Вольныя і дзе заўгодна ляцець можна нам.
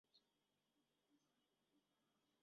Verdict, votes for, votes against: rejected, 0, 2